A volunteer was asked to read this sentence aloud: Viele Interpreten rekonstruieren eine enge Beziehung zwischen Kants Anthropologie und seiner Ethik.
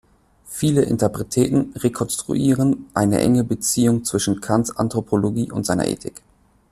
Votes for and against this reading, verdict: 0, 2, rejected